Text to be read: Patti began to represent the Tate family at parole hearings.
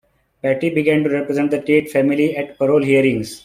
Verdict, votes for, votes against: accepted, 2, 0